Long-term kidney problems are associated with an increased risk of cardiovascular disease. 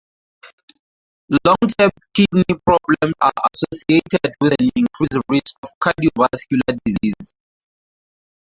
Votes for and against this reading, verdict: 2, 4, rejected